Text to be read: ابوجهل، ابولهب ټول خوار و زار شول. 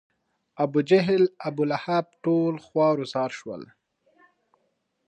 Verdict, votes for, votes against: rejected, 1, 2